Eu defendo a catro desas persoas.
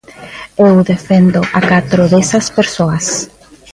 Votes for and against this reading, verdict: 2, 1, accepted